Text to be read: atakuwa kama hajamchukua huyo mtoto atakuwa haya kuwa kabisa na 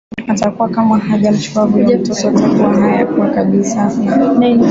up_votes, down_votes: 2, 0